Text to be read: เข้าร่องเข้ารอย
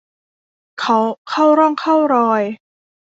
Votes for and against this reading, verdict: 1, 2, rejected